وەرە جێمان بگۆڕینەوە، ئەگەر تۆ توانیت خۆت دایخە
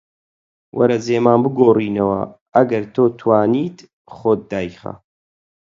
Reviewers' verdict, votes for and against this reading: accepted, 4, 0